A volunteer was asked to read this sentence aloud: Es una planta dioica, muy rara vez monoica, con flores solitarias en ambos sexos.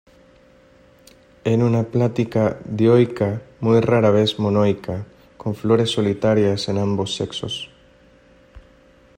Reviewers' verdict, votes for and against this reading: rejected, 0, 2